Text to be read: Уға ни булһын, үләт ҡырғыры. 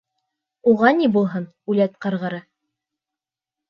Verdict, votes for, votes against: accepted, 2, 0